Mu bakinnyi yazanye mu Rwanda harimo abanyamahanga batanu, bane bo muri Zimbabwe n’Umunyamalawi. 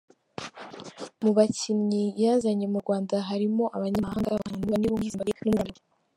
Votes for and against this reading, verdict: 0, 2, rejected